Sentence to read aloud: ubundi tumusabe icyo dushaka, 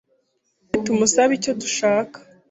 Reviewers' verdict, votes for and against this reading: rejected, 0, 2